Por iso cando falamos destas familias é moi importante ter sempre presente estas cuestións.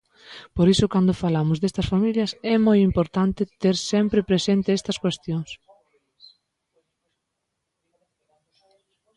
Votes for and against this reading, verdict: 2, 0, accepted